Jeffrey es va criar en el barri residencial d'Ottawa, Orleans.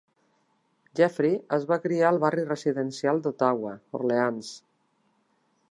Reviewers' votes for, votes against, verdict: 1, 2, rejected